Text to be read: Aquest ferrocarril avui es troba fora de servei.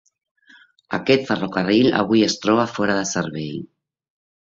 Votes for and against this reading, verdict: 2, 0, accepted